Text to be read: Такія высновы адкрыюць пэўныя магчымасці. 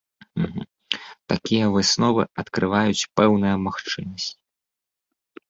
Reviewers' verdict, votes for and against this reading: rejected, 0, 2